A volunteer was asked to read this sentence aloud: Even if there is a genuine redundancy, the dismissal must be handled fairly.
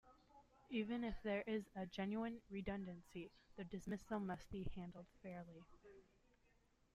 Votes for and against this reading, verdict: 2, 0, accepted